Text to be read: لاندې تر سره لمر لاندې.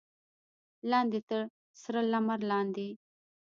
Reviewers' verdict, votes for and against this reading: rejected, 0, 2